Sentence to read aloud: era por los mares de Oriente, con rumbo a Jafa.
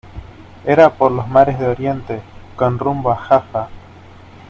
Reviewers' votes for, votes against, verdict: 2, 0, accepted